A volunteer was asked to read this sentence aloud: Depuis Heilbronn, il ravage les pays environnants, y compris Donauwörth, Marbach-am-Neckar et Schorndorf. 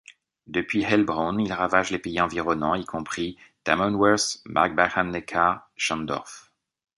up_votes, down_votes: 1, 2